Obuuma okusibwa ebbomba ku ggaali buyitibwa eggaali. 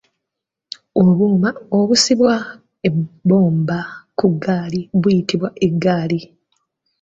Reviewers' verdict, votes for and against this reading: rejected, 2, 3